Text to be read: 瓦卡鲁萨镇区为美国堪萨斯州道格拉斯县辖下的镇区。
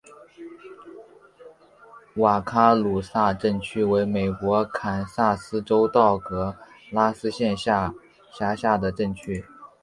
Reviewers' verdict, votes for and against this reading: accepted, 2, 0